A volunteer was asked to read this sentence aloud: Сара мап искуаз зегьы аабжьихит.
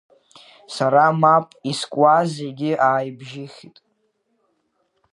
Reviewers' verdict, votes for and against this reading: accepted, 2, 1